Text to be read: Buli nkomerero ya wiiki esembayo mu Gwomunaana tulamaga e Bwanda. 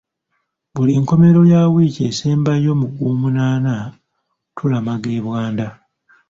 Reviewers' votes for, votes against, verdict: 1, 2, rejected